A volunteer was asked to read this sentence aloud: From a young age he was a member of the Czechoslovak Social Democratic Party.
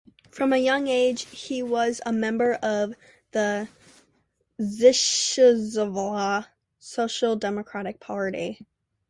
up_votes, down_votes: 0, 2